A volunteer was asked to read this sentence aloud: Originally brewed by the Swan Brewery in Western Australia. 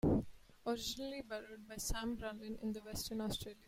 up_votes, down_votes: 1, 2